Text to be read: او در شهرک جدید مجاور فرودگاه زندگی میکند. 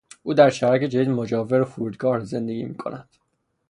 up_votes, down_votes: 0, 3